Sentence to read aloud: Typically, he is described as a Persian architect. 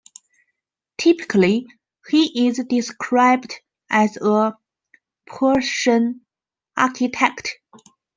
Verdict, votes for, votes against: accepted, 2, 0